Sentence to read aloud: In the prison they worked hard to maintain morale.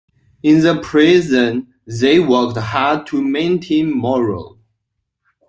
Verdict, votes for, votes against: rejected, 1, 2